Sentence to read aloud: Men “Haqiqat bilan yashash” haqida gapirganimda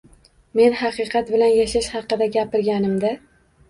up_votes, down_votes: 2, 0